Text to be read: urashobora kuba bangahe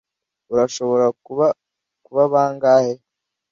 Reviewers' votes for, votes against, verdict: 0, 2, rejected